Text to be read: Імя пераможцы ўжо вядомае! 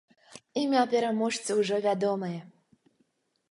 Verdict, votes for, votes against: accepted, 2, 0